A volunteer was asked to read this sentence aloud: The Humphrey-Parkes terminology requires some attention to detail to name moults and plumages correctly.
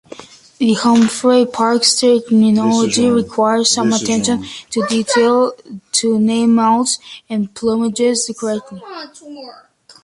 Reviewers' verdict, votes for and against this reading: rejected, 1, 2